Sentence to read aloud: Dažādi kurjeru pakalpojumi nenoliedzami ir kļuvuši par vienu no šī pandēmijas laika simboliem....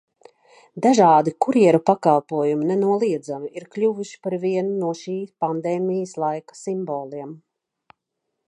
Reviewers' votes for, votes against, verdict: 2, 0, accepted